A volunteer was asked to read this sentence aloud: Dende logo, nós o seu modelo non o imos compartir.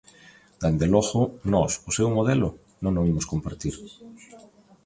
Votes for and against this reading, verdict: 2, 0, accepted